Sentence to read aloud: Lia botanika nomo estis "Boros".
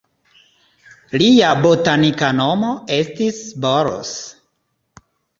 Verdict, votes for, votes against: accepted, 2, 0